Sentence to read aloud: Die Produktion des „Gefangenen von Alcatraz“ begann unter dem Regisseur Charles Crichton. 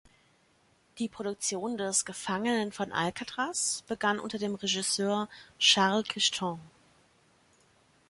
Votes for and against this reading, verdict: 2, 0, accepted